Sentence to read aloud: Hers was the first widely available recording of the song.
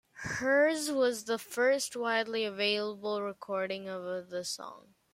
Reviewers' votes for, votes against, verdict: 2, 0, accepted